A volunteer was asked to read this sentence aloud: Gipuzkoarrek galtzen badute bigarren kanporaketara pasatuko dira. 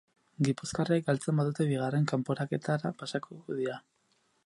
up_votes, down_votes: 0, 6